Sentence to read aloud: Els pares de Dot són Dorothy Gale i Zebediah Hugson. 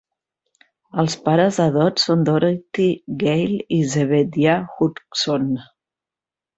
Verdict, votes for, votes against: accepted, 2, 1